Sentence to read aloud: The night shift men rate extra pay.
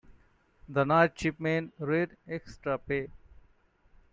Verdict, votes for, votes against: rejected, 0, 2